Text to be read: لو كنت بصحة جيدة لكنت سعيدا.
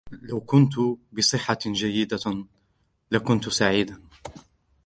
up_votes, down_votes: 2, 1